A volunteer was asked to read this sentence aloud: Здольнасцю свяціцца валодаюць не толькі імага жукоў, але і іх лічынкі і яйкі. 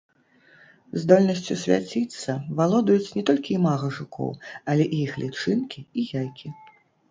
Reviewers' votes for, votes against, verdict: 1, 2, rejected